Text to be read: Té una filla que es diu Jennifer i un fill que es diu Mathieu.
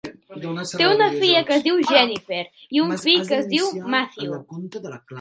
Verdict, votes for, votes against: rejected, 1, 2